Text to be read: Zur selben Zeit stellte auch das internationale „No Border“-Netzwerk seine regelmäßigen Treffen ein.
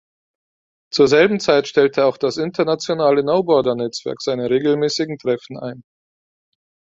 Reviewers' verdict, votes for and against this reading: accepted, 4, 0